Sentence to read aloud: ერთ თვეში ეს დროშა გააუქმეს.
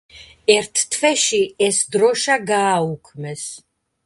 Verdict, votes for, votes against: accepted, 2, 0